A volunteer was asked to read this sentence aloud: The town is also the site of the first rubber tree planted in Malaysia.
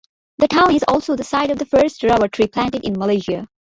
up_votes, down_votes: 2, 0